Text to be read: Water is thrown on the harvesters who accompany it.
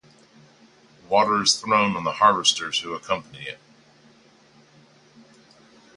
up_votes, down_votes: 4, 0